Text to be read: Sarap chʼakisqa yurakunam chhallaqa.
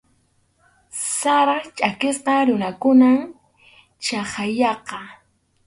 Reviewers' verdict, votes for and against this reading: rejected, 0, 2